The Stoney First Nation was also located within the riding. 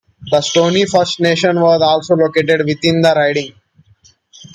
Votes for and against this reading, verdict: 2, 0, accepted